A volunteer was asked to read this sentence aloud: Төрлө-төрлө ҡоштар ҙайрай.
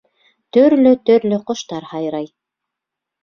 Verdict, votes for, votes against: rejected, 1, 2